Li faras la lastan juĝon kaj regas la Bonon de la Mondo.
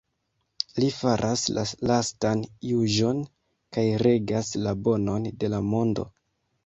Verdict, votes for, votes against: rejected, 0, 2